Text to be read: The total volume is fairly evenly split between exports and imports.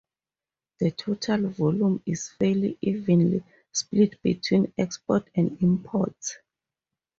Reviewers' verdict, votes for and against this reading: rejected, 2, 2